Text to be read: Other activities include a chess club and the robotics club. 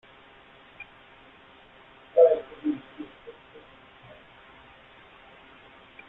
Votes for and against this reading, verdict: 0, 2, rejected